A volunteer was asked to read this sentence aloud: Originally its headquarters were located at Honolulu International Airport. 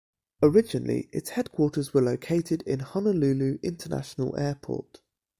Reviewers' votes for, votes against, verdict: 0, 2, rejected